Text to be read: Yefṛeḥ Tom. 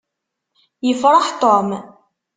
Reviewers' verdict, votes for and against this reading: accepted, 2, 0